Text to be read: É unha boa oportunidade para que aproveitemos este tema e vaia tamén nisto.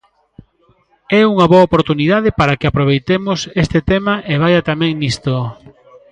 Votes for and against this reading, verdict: 0, 2, rejected